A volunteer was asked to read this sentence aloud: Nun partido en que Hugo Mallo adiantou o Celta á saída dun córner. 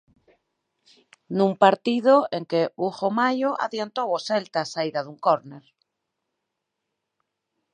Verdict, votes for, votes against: accepted, 4, 0